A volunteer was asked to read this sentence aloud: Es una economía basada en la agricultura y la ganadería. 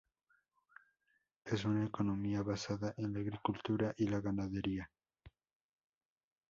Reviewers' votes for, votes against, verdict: 0, 2, rejected